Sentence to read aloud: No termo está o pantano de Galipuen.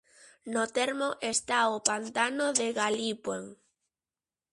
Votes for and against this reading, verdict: 2, 0, accepted